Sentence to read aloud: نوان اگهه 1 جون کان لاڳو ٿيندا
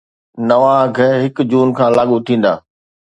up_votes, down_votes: 0, 2